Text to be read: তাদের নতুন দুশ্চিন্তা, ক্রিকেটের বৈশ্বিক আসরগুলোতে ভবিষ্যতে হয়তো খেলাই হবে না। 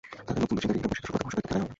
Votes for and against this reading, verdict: 0, 2, rejected